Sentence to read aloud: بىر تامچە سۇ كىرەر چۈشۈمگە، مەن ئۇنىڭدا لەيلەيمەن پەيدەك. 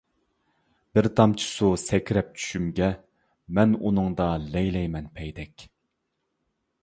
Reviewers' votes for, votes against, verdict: 1, 2, rejected